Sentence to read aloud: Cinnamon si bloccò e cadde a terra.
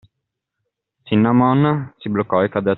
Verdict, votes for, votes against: rejected, 0, 2